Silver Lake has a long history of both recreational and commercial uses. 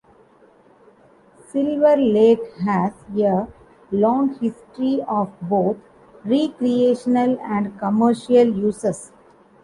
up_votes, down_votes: 0, 2